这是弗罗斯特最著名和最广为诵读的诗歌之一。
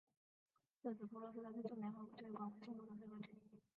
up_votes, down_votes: 0, 3